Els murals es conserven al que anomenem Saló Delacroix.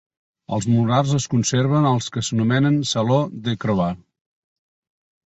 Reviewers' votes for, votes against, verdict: 0, 2, rejected